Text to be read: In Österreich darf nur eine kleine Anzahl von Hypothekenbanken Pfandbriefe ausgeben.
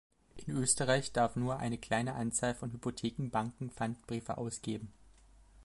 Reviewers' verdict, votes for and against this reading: accepted, 2, 0